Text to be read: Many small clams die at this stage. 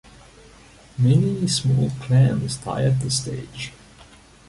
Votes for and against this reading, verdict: 0, 2, rejected